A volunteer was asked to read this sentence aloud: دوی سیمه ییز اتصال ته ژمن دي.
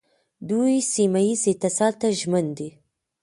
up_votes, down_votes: 1, 2